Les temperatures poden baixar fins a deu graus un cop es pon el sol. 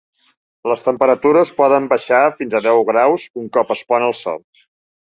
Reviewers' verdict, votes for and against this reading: accepted, 3, 0